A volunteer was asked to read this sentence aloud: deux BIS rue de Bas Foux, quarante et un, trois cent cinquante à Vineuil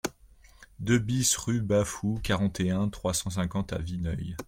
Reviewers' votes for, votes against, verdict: 1, 2, rejected